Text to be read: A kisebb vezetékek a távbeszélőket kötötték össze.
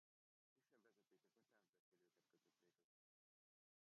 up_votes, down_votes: 0, 2